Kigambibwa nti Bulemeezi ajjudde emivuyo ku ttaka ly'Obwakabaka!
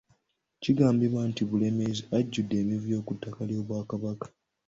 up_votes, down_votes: 1, 2